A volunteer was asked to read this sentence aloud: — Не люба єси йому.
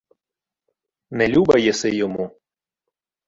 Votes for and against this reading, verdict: 2, 0, accepted